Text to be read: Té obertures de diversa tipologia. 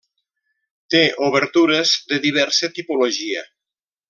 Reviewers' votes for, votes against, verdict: 3, 0, accepted